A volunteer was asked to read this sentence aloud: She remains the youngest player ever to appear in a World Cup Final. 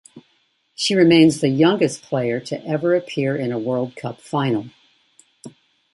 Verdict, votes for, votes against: accepted, 2, 0